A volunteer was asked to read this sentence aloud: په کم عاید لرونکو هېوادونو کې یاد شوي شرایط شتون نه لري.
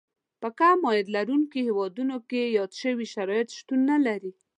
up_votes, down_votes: 3, 1